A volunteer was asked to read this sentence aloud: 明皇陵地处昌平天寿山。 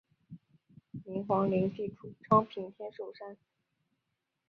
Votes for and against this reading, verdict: 2, 0, accepted